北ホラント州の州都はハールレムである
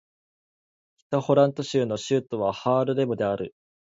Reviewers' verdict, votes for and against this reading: accepted, 2, 0